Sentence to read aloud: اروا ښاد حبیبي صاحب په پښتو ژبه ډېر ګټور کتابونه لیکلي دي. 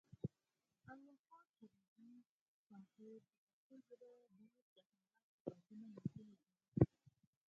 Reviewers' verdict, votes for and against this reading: rejected, 0, 4